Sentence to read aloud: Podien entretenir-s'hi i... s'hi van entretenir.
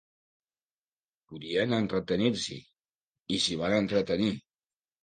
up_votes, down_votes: 2, 0